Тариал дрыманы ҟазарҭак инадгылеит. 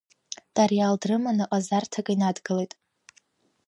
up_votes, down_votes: 2, 1